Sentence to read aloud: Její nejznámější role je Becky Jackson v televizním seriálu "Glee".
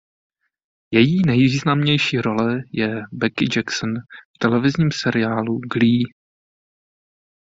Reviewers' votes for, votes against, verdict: 0, 2, rejected